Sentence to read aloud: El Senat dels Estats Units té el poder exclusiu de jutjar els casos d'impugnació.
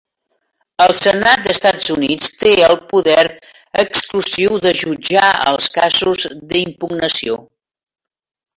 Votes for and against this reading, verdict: 0, 2, rejected